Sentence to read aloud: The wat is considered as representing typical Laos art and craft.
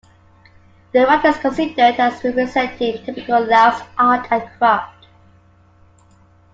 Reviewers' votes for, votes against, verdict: 0, 2, rejected